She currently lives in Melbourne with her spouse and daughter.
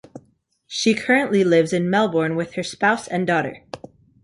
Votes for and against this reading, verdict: 2, 0, accepted